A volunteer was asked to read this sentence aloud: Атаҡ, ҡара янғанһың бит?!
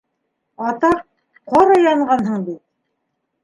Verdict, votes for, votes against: accepted, 2, 1